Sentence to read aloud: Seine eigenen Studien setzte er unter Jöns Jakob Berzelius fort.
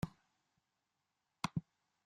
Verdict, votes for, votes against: rejected, 0, 2